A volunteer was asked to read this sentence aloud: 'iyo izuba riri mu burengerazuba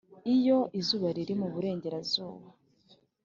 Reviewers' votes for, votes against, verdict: 3, 0, accepted